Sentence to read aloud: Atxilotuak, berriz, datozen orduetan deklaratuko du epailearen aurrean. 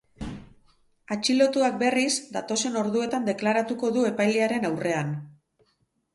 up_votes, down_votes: 4, 0